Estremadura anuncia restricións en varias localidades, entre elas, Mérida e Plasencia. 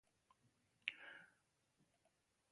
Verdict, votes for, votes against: rejected, 0, 3